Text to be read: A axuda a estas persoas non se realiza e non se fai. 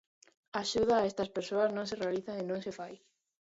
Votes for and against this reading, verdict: 1, 2, rejected